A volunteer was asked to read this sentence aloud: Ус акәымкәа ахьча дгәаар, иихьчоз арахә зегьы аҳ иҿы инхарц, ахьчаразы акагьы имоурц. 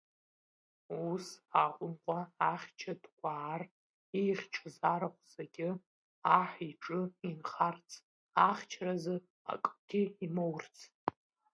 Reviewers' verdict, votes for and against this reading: rejected, 0, 2